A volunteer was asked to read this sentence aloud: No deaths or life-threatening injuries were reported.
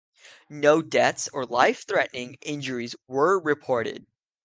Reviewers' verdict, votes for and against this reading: accepted, 2, 0